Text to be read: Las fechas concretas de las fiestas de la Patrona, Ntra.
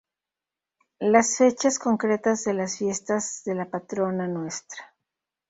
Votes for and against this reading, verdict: 0, 2, rejected